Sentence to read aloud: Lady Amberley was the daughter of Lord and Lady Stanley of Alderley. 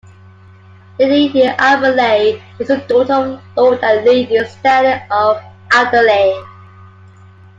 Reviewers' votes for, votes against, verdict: 0, 2, rejected